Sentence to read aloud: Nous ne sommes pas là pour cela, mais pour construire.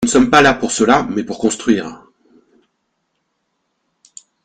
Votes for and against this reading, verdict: 2, 0, accepted